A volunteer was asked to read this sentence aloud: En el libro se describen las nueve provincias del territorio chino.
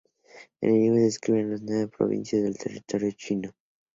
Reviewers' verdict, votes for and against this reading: rejected, 2, 2